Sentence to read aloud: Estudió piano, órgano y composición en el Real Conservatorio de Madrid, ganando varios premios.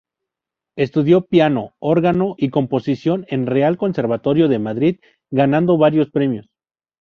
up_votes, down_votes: 0, 2